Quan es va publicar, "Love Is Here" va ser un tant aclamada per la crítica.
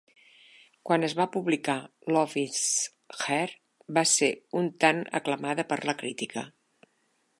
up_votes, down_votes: 0, 2